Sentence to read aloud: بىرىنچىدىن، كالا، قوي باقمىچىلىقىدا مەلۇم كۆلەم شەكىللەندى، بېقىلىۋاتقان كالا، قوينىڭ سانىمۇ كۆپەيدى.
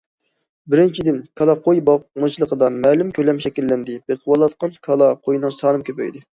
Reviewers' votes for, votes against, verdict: 2, 0, accepted